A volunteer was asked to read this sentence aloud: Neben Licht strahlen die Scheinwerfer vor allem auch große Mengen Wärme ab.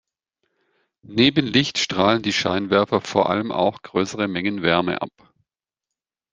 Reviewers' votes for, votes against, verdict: 0, 2, rejected